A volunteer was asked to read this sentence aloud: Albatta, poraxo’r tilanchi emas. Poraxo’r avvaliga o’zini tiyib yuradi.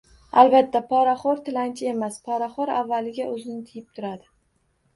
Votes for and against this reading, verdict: 1, 2, rejected